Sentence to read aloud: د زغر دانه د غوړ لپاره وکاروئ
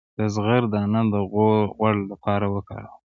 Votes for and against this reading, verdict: 0, 2, rejected